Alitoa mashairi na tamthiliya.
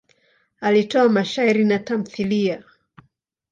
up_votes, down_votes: 2, 0